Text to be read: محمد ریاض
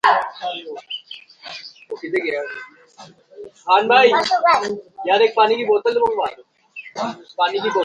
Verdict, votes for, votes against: rejected, 0, 2